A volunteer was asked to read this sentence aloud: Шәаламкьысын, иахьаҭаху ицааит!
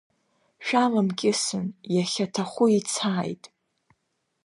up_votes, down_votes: 2, 0